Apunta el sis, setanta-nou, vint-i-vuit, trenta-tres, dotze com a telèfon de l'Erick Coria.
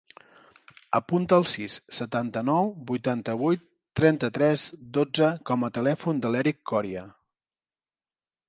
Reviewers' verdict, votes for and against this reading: rejected, 0, 3